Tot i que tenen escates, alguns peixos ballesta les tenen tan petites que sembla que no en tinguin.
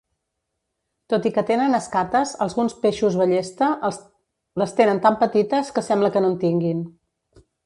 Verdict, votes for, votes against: rejected, 0, 2